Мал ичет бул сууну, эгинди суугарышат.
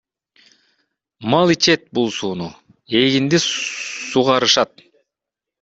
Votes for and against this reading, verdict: 1, 2, rejected